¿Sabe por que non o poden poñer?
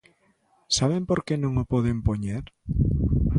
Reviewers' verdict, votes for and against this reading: accepted, 2, 0